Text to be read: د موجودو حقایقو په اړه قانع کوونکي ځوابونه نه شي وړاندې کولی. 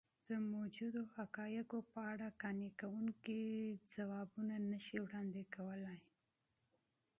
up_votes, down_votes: 2, 0